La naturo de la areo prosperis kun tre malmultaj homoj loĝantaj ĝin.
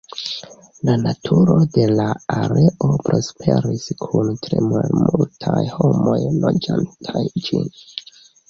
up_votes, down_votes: 0, 2